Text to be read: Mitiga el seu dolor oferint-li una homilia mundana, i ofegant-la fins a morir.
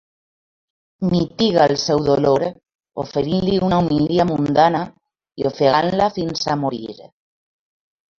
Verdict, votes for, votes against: accepted, 3, 0